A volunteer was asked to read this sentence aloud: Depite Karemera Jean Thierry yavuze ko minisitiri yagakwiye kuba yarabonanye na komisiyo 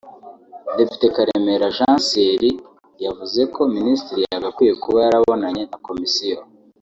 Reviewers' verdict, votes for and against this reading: accepted, 3, 1